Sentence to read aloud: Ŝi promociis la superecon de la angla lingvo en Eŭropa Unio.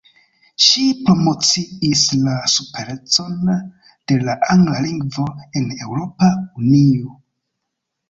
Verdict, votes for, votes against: accepted, 3, 0